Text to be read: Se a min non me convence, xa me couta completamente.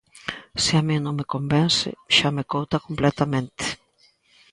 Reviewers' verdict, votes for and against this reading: accepted, 2, 0